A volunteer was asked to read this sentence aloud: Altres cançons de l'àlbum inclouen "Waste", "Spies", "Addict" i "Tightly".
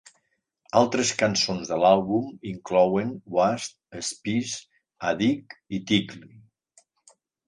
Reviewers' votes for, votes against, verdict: 1, 3, rejected